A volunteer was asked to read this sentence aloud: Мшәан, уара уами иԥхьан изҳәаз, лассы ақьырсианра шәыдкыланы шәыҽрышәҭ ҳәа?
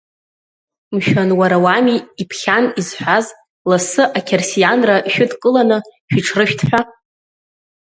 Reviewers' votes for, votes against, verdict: 2, 0, accepted